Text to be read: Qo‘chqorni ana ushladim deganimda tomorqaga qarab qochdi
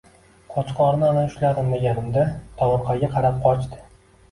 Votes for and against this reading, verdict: 2, 0, accepted